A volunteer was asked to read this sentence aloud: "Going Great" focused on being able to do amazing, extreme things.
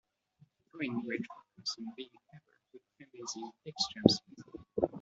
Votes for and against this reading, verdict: 1, 2, rejected